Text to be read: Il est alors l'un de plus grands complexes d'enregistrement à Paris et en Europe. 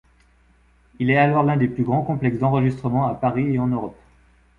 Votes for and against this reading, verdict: 1, 2, rejected